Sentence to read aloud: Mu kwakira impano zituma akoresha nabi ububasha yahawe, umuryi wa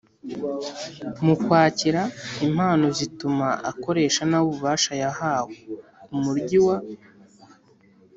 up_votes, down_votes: 2, 0